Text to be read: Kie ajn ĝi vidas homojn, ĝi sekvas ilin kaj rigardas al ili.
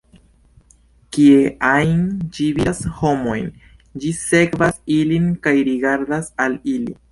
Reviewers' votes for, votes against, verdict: 2, 0, accepted